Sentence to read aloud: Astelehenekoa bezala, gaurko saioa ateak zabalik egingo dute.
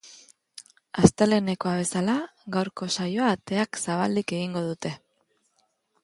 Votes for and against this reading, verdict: 2, 0, accepted